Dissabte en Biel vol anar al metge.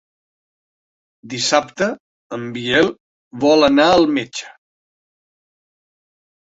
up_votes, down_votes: 3, 0